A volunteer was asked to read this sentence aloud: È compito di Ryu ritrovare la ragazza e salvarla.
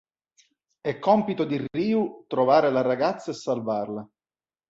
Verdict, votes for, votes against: rejected, 1, 2